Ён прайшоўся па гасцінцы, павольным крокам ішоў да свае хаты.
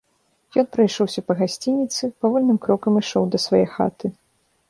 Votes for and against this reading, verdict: 1, 2, rejected